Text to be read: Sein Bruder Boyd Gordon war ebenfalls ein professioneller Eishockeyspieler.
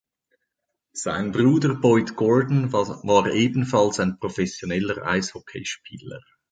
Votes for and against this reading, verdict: 0, 3, rejected